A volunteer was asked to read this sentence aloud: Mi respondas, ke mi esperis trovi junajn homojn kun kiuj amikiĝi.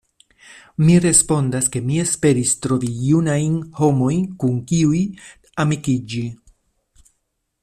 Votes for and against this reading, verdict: 2, 0, accepted